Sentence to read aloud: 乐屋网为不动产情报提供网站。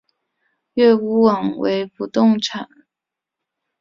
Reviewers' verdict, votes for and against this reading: rejected, 1, 3